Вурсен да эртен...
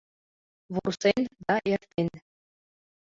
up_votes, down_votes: 2, 1